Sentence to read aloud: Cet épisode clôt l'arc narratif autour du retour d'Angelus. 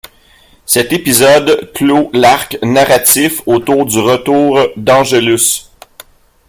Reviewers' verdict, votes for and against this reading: accepted, 2, 0